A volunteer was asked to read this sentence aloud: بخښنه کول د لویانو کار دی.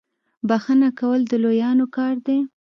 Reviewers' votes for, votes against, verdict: 2, 0, accepted